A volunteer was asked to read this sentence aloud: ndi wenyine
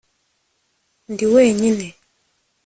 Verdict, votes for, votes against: accepted, 2, 0